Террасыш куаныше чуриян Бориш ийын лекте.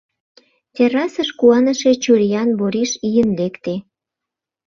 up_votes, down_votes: 2, 0